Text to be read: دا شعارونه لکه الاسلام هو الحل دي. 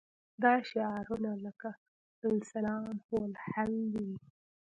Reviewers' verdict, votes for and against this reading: accepted, 2, 0